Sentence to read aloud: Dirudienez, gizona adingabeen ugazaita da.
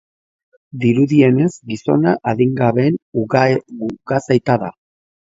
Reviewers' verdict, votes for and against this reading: rejected, 0, 3